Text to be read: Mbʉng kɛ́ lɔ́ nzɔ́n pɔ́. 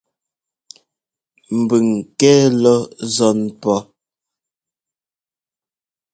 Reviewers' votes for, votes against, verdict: 2, 0, accepted